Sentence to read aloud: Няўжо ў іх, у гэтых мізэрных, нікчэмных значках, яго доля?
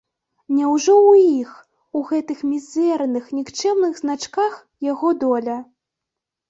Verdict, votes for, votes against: accepted, 2, 0